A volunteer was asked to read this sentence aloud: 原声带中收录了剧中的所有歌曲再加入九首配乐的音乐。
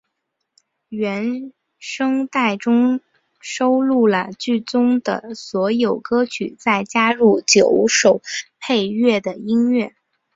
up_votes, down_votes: 4, 2